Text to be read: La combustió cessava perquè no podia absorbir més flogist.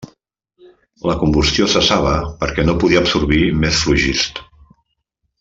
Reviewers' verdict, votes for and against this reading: accepted, 2, 0